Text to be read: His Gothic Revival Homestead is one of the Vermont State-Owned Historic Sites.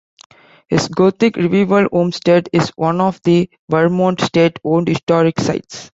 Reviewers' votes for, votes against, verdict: 2, 1, accepted